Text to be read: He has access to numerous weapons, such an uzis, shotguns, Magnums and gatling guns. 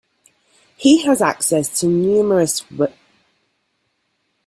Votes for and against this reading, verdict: 0, 2, rejected